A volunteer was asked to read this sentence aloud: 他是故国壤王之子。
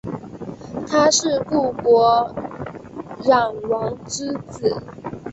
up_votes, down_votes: 5, 1